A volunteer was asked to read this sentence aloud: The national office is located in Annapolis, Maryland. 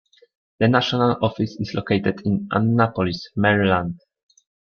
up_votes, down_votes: 2, 1